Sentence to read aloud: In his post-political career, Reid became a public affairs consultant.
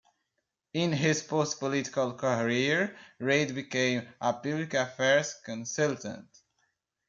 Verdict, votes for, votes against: accepted, 2, 1